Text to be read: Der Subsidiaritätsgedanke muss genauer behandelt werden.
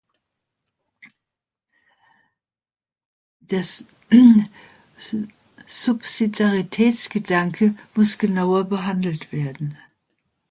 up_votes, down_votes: 1, 2